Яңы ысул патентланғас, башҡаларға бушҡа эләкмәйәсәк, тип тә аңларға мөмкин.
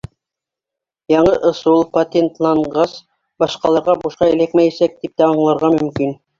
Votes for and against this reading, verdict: 2, 0, accepted